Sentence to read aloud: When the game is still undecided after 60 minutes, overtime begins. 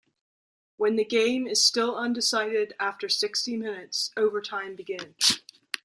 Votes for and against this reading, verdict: 0, 2, rejected